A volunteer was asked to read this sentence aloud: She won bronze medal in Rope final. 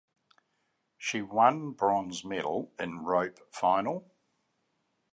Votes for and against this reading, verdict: 2, 0, accepted